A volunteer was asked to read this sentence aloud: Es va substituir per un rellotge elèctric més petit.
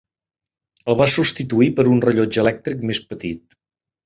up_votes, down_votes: 0, 2